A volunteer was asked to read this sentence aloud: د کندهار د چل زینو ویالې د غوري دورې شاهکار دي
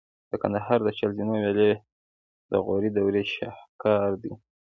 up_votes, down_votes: 2, 1